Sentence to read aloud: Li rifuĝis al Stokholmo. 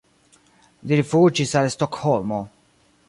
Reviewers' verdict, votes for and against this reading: rejected, 0, 2